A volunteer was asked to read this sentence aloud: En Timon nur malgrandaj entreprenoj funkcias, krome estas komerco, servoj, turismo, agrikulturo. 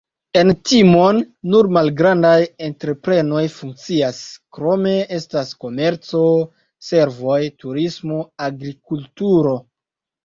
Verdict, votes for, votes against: accepted, 2, 0